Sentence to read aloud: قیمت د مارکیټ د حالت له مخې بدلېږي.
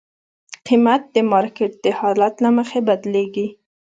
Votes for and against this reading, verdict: 2, 0, accepted